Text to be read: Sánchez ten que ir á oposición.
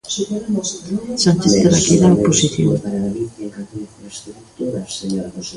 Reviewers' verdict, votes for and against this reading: rejected, 0, 2